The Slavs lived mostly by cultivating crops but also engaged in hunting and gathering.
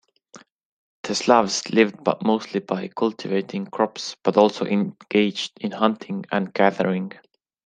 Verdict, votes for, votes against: rejected, 1, 2